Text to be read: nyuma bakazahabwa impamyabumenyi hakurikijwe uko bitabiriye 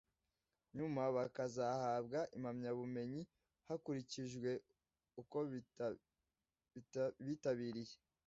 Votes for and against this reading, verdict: 0, 2, rejected